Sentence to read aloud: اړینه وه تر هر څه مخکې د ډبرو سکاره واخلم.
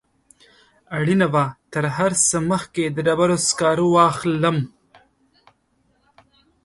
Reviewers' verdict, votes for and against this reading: accepted, 4, 0